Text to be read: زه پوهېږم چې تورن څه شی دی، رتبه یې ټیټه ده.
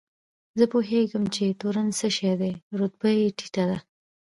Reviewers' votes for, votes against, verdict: 2, 0, accepted